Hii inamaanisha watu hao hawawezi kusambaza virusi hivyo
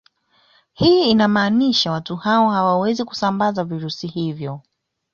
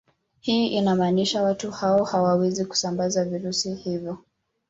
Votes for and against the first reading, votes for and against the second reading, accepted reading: 2, 0, 1, 2, first